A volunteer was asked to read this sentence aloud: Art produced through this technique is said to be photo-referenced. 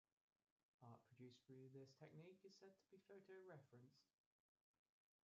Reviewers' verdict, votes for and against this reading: rejected, 1, 2